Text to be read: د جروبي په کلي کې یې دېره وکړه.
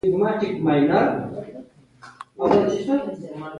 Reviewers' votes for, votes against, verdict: 0, 2, rejected